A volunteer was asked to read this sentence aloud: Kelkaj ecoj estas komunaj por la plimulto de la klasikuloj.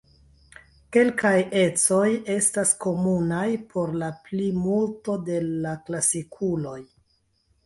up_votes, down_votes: 2, 1